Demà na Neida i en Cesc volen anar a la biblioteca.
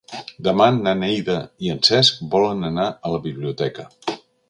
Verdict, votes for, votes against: accepted, 3, 0